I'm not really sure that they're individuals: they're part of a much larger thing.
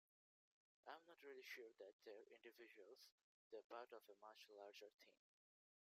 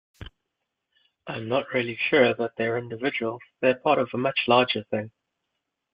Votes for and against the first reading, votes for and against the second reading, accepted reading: 1, 2, 2, 0, second